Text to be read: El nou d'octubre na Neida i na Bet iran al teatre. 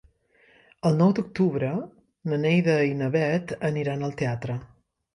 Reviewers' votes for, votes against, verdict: 1, 2, rejected